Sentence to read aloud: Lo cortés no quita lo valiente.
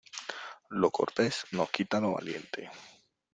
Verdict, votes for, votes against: accepted, 2, 0